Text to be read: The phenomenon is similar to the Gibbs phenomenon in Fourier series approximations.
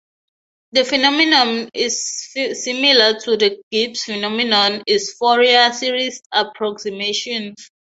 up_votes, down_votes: 3, 3